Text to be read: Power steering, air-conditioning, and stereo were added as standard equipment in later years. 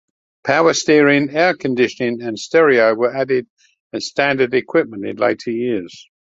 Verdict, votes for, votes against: accepted, 2, 0